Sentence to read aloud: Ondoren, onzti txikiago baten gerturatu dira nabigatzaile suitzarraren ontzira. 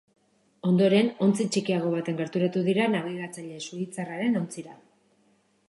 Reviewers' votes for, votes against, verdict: 2, 1, accepted